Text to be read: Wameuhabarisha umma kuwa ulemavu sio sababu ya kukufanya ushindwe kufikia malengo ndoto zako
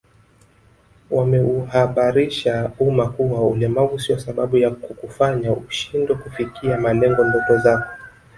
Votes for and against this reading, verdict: 1, 2, rejected